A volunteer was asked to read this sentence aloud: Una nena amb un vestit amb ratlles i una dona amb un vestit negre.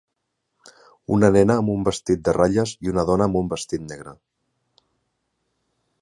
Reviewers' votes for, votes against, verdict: 1, 2, rejected